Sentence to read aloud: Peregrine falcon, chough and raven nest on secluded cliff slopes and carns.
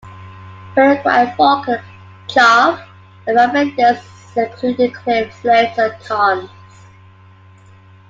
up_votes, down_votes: 1, 2